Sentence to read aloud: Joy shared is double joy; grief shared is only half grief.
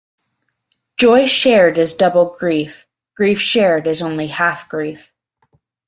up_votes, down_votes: 1, 2